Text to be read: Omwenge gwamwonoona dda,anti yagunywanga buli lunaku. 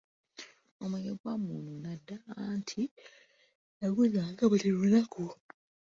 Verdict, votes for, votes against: rejected, 1, 2